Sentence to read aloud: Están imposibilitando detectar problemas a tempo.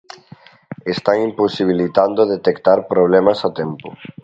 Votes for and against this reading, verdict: 2, 0, accepted